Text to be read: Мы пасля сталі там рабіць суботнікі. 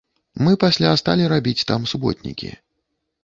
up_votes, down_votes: 0, 2